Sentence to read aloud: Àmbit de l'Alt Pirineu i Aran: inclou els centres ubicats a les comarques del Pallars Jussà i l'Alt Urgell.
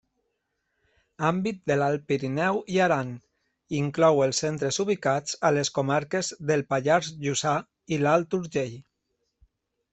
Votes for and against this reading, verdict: 2, 0, accepted